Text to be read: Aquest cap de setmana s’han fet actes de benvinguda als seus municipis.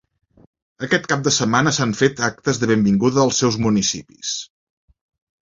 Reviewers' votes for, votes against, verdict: 4, 0, accepted